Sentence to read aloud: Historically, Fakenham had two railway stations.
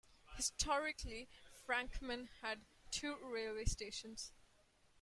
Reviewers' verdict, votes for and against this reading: rejected, 0, 2